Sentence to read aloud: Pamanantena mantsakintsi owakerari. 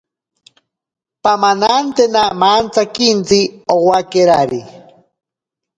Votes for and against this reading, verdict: 0, 2, rejected